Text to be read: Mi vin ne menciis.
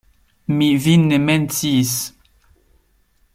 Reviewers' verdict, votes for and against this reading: accepted, 2, 1